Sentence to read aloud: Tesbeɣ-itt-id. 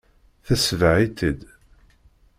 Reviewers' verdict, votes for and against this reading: rejected, 1, 2